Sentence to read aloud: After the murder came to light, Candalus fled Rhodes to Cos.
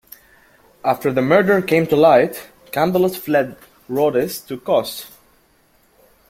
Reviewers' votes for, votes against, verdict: 2, 1, accepted